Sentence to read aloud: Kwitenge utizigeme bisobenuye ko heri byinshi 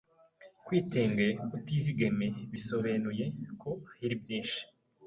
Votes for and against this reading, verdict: 1, 2, rejected